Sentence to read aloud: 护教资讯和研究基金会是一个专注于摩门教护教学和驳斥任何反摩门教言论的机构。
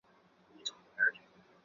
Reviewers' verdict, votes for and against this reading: rejected, 0, 3